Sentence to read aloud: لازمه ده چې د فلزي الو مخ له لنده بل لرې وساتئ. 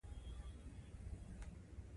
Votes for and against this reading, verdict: 2, 0, accepted